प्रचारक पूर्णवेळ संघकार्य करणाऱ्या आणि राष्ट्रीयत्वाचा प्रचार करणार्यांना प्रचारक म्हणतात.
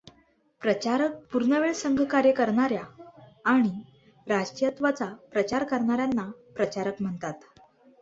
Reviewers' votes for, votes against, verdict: 2, 0, accepted